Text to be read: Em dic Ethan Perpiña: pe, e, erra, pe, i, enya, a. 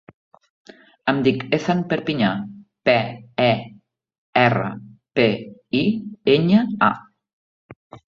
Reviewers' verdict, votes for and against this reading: accepted, 2, 1